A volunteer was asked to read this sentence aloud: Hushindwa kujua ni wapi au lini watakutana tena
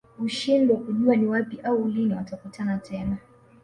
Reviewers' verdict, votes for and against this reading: accepted, 2, 1